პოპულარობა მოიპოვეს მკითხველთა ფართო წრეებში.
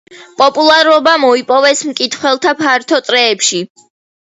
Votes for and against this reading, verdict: 2, 0, accepted